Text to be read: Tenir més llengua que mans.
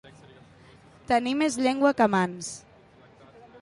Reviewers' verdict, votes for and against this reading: accepted, 2, 0